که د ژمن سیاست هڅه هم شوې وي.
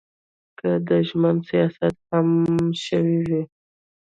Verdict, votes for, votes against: rejected, 1, 2